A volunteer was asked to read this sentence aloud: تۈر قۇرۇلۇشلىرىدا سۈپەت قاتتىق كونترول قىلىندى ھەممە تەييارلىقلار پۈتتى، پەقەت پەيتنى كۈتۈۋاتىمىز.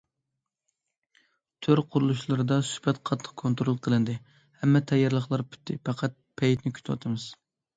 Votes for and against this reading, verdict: 2, 0, accepted